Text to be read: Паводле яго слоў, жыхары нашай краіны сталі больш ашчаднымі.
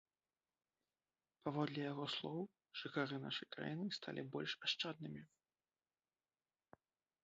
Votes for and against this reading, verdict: 0, 2, rejected